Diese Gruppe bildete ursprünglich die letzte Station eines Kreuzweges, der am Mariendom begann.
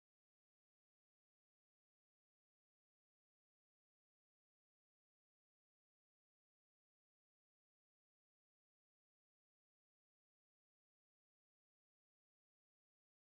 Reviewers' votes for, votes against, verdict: 0, 2, rejected